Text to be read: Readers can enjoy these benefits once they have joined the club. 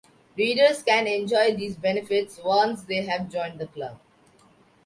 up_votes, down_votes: 2, 0